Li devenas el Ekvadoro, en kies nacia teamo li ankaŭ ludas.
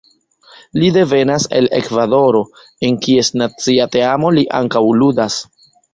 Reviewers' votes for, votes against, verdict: 2, 1, accepted